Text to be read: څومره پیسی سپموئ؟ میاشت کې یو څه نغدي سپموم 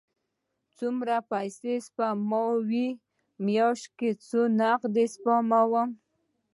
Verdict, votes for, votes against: accepted, 2, 0